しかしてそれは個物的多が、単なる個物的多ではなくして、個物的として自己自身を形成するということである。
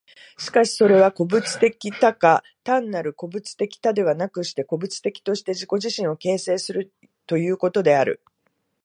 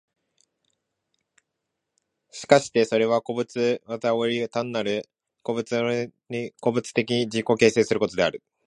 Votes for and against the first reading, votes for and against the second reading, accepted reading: 2, 1, 1, 2, first